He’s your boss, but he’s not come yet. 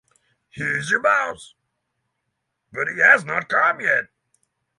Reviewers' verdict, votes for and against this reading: rejected, 0, 6